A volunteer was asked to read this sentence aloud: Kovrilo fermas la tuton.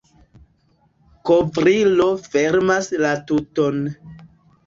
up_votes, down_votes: 2, 1